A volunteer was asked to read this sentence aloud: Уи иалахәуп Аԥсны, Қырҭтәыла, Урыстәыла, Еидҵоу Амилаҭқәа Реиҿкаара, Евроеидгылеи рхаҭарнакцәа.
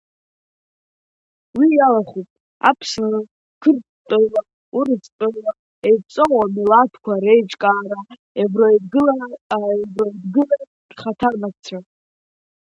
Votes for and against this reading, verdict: 1, 2, rejected